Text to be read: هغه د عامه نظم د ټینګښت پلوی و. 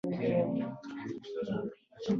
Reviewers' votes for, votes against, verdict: 0, 2, rejected